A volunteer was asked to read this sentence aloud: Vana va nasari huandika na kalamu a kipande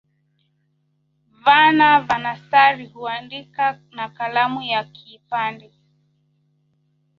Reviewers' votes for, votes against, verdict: 0, 2, rejected